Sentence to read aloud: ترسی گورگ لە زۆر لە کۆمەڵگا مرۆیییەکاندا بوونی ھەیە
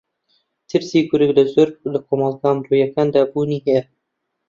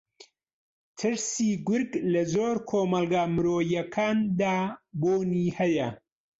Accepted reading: second